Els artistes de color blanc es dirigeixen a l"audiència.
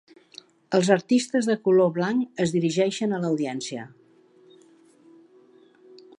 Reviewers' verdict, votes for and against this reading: accepted, 2, 0